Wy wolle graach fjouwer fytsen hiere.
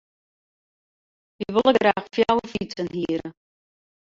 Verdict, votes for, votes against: rejected, 2, 4